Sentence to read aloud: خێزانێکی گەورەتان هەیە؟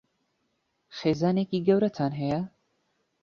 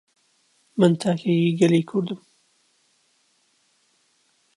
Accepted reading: first